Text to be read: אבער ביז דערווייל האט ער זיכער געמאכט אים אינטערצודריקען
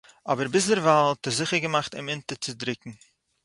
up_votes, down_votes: 4, 0